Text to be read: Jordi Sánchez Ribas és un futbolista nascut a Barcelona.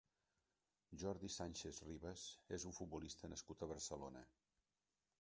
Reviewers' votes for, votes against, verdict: 0, 2, rejected